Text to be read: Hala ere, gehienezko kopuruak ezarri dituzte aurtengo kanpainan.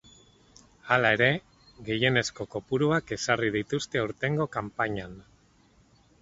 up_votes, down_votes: 4, 0